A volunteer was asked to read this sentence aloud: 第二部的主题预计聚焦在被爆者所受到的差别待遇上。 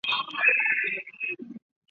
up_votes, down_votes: 0, 2